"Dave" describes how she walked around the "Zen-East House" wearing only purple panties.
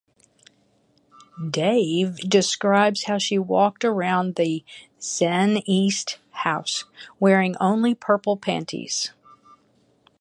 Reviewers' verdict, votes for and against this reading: accepted, 6, 0